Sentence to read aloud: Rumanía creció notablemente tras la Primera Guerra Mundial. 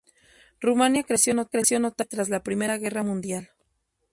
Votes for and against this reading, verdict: 0, 2, rejected